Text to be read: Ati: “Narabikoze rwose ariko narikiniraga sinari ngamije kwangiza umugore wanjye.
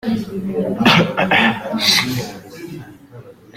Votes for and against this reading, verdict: 0, 2, rejected